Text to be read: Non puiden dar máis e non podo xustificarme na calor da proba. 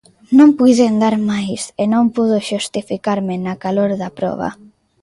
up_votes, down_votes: 2, 0